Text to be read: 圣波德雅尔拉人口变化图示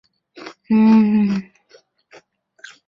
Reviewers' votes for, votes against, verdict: 0, 2, rejected